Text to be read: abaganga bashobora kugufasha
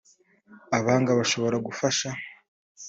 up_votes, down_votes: 1, 2